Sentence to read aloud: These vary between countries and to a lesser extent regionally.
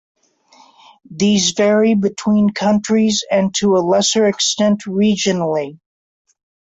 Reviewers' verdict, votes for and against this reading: accepted, 2, 0